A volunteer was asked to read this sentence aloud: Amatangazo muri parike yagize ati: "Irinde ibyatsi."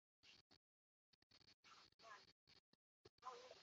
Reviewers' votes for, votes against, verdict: 0, 2, rejected